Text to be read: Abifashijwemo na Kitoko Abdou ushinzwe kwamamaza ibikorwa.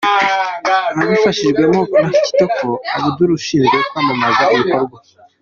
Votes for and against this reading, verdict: 2, 1, accepted